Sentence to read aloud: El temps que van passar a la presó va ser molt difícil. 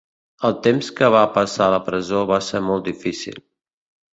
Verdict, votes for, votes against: rejected, 1, 2